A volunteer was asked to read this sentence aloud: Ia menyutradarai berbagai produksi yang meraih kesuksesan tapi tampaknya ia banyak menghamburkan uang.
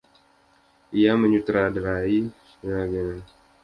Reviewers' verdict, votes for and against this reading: rejected, 0, 2